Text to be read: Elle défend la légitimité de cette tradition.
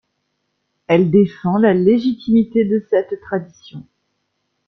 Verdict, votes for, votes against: rejected, 1, 2